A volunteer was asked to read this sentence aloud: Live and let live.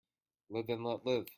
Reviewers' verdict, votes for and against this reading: rejected, 0, 2